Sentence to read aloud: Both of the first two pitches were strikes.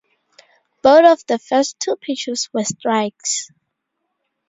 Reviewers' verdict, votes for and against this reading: accepted, 2, 0